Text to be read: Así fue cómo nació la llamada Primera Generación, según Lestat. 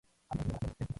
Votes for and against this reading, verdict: 0, 2, rejected